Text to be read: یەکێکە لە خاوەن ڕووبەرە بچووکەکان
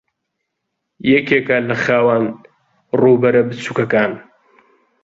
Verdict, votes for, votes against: accepted, 2, 0